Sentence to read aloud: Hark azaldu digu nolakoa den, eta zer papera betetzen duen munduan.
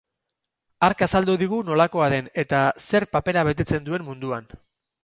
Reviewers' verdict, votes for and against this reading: accepted, 4, 0